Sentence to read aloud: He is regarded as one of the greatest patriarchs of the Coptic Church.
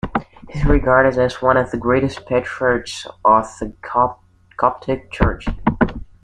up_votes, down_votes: 0, 2